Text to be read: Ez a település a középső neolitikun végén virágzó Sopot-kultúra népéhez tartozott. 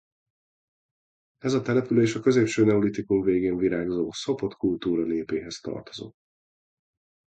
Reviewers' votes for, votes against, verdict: 2, 0, accepted